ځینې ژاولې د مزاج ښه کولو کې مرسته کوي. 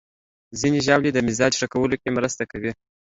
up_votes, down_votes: 2, 0